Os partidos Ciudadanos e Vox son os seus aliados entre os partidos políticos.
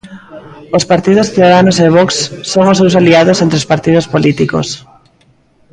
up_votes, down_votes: 0, 2